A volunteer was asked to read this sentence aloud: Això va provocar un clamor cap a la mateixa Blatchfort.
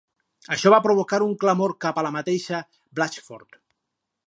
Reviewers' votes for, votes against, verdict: 4, 0, accepted